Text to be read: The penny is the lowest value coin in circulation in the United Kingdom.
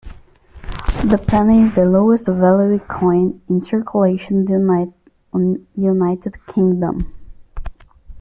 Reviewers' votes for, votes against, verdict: 0, 2, rejected